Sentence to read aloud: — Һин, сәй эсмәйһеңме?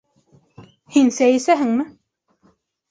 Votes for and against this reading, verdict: 1, 2, rejected